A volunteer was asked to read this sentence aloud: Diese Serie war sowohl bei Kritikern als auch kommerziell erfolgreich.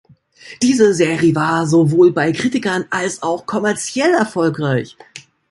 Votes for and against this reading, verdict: 0, 2, rejected